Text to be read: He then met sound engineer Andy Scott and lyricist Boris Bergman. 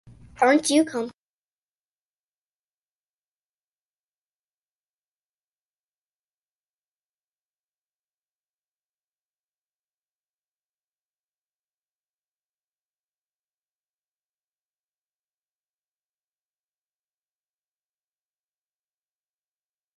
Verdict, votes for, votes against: rejected, 0, 2